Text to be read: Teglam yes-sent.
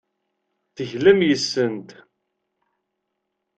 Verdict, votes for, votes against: accepted, 2, 0